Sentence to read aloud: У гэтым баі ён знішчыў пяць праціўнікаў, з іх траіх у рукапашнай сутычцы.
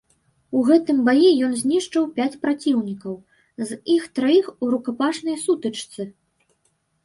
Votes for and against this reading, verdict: 1, 2, rejected